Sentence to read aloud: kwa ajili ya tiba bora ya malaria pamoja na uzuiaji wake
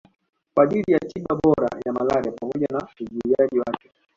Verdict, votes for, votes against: accepted, 2, 1